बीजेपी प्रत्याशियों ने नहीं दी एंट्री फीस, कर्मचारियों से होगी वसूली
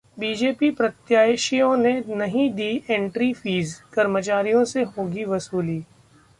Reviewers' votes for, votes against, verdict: 2, 0, accepted